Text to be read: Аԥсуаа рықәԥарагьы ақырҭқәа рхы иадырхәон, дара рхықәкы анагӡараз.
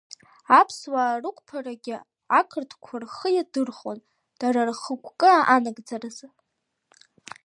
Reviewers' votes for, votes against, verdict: 2, 0, accepted